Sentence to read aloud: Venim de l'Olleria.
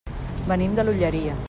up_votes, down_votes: 3, 0